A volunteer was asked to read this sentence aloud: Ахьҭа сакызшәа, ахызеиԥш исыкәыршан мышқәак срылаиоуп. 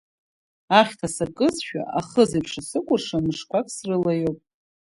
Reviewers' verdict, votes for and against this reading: accepted, 2, 0